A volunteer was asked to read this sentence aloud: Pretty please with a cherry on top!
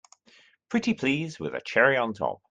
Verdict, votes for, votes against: accepted, 2, 0